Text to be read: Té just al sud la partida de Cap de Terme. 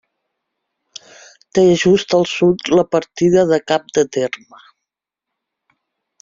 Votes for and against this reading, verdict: 3, 0, accepted